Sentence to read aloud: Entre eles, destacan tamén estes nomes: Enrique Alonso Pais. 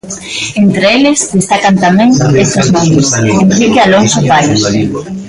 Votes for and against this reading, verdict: 0, 2, rejected